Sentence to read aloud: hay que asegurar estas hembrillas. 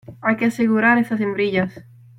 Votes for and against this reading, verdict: 0, 2, rejected